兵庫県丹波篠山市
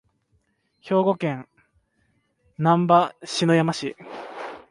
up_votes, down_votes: 2, 0